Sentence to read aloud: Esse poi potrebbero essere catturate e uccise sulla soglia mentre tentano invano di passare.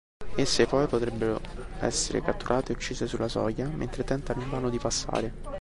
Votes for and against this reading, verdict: 1, 2, rejected